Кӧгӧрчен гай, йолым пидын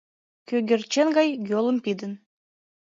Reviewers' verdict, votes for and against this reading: rejected, 1, 2